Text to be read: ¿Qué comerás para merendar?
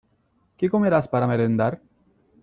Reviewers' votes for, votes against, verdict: 2, 0, accepted